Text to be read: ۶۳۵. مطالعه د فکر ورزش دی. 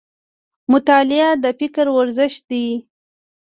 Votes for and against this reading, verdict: 0, 2, rejected